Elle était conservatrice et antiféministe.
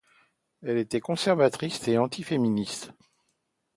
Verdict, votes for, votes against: rejected, 0, 2